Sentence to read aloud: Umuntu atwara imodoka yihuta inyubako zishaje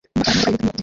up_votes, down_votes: 0, 2